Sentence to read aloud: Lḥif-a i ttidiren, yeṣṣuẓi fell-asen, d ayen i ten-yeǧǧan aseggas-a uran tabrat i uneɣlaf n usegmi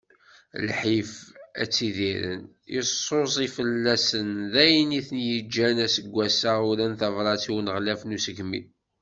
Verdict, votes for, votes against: rejected, 0, 2